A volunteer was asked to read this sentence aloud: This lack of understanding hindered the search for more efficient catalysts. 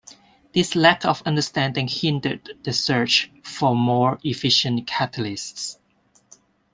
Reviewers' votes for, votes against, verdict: 2, 0, accepted